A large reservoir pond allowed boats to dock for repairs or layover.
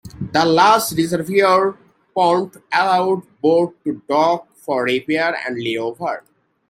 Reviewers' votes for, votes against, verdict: 0, 2, rejected